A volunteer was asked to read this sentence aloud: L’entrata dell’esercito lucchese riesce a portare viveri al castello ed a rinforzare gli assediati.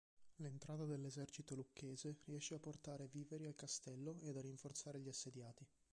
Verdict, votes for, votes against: rejected, 2, 3